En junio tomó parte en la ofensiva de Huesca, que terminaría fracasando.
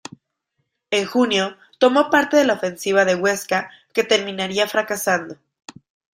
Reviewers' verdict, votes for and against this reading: rejected, 1, 2